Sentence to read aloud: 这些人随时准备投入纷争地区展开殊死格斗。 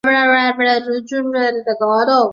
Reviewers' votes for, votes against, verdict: 0, 3, rejected